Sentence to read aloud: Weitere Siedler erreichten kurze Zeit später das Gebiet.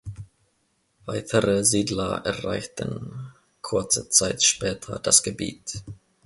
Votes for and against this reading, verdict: 2, 0, accepted